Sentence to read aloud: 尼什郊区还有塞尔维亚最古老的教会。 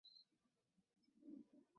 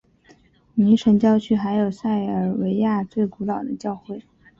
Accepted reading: second